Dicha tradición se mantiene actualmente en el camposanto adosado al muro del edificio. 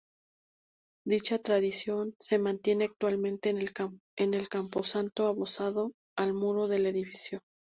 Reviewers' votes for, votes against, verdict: 0, 2, rejected